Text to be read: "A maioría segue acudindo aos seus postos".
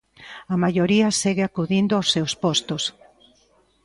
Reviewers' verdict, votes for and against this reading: accepted, 2, 0